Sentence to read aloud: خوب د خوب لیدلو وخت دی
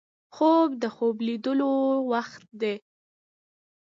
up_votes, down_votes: 2, 0